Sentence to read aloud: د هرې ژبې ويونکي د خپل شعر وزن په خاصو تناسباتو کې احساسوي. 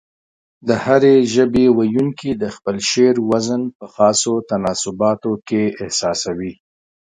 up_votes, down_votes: 5, 0